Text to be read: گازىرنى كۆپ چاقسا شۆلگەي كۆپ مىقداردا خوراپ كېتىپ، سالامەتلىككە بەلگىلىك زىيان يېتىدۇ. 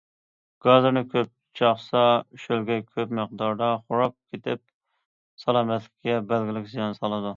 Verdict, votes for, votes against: rejected, 0, 2